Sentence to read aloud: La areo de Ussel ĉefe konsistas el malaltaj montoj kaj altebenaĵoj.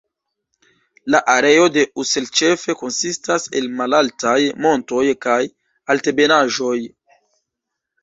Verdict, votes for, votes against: rejected, 0, 2